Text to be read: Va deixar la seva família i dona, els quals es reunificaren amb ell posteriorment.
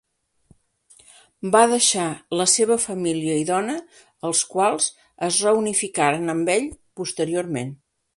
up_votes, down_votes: 5, 0